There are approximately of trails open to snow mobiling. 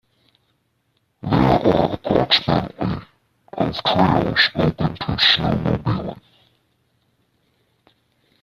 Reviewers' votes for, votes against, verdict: 0, 2, rejected